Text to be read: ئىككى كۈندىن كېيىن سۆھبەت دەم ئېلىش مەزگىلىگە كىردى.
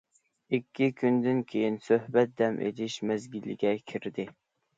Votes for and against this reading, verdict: 2, 0, accepted